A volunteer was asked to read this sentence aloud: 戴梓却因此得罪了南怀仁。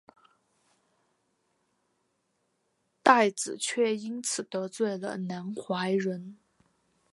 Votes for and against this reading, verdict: 4, 1, accepted